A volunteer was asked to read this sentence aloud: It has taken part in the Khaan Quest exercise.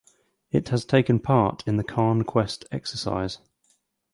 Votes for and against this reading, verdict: 4, 0, accepted